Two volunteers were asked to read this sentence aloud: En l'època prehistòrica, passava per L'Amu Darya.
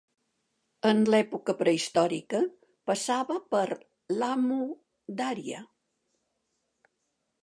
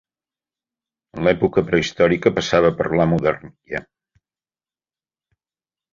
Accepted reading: first